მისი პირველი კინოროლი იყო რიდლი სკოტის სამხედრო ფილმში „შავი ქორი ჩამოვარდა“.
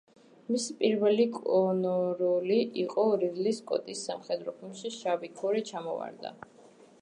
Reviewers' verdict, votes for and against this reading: rejected, 0, 2